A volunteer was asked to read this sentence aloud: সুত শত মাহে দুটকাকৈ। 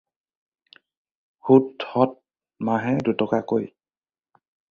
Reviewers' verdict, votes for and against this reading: rejected, 2, 4